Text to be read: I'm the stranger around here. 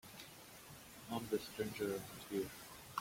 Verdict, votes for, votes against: rejected, 1, 2